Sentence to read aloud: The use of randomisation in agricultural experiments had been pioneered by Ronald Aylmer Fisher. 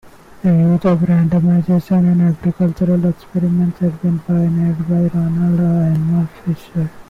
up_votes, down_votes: 0, 2